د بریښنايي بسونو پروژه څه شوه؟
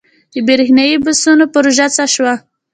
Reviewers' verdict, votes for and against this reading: rejected, 0, 2